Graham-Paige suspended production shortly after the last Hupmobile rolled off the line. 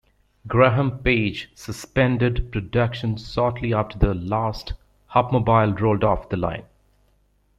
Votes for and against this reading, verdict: 3, 0, accepted